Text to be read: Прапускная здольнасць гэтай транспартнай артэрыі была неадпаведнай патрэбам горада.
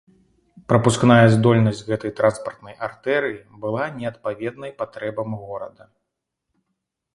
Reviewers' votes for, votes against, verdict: 2, 0, accepted